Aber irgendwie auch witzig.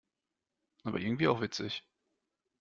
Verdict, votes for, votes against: accepted, 2, 0